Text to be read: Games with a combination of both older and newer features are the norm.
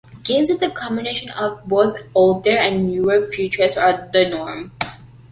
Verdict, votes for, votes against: accepted, 2, 0